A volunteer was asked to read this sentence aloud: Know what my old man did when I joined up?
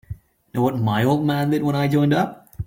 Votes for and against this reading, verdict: 0, 2, rejected